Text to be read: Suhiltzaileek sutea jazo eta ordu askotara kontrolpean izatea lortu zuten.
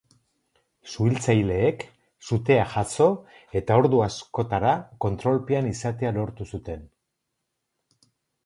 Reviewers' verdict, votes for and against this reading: accepted, 4, 0